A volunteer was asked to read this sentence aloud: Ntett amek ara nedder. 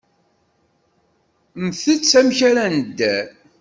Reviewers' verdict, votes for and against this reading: accepted, 2, 0